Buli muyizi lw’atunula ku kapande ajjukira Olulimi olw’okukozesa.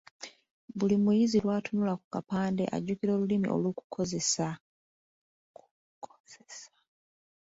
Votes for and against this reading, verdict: 2, 1, accepted